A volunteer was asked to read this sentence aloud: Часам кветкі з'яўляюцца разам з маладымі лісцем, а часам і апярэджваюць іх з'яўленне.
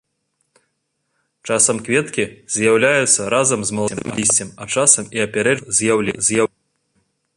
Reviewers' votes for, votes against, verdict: 0, 3, rejected